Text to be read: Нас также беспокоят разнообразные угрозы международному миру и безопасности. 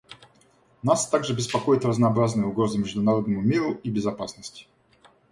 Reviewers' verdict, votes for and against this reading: accepted, 2, 0